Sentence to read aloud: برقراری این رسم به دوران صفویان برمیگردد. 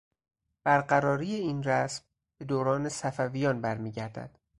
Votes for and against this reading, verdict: 4, 0, accepted